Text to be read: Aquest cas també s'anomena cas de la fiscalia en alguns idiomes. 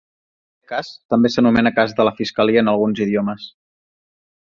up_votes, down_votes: 1, 2